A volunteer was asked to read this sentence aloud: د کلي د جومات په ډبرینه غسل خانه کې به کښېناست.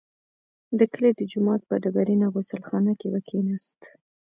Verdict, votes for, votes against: rejected, 0, 3